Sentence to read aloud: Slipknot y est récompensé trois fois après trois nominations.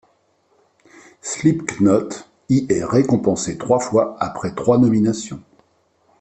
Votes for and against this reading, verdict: 2, 0, accepted